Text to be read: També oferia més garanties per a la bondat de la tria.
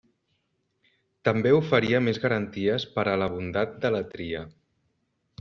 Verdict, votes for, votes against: accepted, 2, 0